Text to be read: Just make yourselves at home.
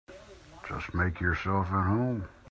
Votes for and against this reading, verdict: 2, 0, accepted